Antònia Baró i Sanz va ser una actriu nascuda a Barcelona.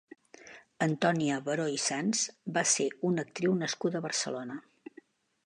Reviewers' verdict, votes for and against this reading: accepted, 2, 0